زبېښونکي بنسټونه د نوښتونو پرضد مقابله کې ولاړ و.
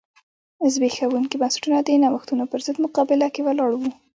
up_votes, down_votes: 1, 2